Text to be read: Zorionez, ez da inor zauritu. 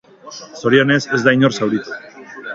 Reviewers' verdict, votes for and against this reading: accepted, 4, 0